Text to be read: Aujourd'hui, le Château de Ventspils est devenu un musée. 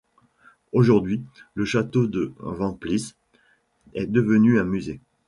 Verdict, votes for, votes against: rejected, 1, 2